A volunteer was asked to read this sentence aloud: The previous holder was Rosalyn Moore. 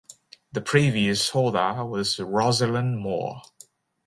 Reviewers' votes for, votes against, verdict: 0, 2, rejected